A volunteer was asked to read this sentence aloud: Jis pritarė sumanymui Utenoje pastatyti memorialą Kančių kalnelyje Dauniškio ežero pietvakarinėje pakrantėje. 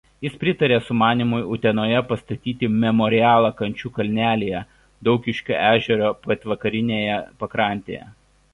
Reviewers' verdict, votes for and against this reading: rejected, 0, 2